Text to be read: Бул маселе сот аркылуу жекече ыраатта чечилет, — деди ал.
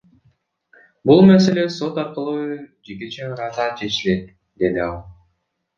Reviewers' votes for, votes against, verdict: 0, 2, rejected